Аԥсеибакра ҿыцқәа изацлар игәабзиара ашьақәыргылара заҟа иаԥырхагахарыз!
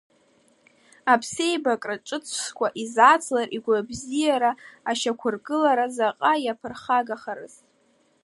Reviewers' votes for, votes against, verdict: 2, 0, accepted